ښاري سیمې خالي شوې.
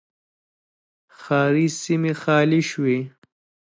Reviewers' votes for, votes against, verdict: 2, 0, accepted